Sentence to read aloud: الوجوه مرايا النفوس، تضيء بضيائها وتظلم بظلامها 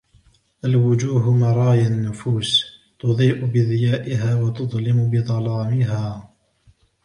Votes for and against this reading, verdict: 1, 2, rejected